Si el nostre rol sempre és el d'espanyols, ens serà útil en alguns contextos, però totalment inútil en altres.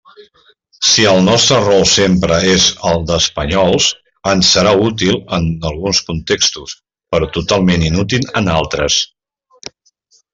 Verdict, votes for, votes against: accepted, 2, 0